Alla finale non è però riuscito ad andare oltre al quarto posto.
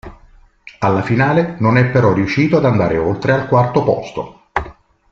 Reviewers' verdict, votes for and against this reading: rejected, 1, 2